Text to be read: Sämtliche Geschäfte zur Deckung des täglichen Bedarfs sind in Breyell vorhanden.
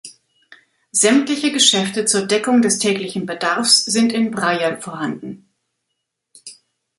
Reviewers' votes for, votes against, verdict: 2, 0, accepted